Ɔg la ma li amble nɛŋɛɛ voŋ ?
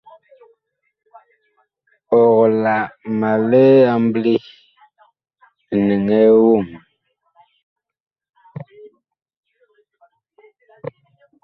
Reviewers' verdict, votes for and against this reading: accepted, 2, 1